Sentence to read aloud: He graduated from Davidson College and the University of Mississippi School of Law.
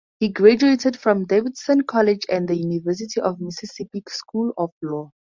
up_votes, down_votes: 4, 0